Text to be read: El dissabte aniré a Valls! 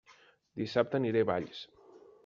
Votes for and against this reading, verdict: 0, 2, rejected